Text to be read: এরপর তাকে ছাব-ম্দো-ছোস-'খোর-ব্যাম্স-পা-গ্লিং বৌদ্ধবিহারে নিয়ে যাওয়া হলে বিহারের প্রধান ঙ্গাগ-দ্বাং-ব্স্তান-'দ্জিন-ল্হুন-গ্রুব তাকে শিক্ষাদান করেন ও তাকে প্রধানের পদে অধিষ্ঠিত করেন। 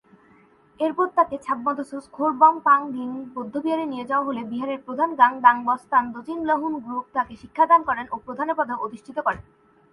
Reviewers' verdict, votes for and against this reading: accepted, 9, 3